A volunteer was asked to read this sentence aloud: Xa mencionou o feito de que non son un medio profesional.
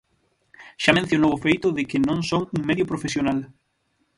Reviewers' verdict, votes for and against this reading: rejected, 3, 6